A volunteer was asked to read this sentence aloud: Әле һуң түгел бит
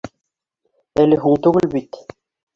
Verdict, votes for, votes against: rejected, 1, 2